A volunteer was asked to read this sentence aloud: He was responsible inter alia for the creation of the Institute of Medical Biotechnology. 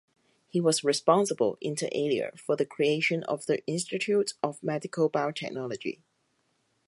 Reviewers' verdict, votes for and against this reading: accepted, 4, 0